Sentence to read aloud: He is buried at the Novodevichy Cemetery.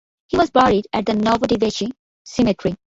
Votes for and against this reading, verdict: 0, 2, rejected